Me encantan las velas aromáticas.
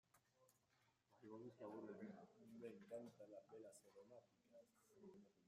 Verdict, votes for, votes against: rejected, 0, 2